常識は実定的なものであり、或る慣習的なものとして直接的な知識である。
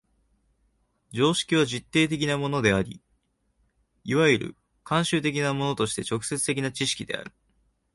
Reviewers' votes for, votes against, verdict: 0, 2, rejected